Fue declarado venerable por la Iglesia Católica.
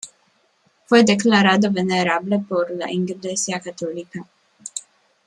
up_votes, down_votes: 0, 2